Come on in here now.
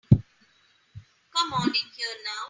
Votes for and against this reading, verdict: 2, 0, accepted